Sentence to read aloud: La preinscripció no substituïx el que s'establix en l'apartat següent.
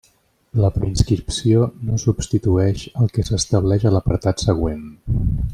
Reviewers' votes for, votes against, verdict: 2, 0, accepted